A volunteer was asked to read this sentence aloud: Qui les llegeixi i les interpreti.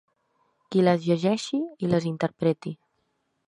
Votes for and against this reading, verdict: 4, 0, accepted